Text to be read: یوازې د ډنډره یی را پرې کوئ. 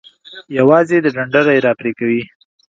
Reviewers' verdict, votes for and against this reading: accepted, 2, 0